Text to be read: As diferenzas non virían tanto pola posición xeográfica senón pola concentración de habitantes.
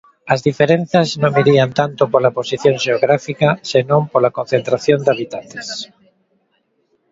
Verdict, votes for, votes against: accepted, 2, 0